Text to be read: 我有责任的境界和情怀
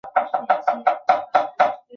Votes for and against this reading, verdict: 0, 3, rejected